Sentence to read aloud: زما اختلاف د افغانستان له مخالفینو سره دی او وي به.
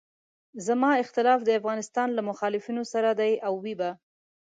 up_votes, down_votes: 2, 0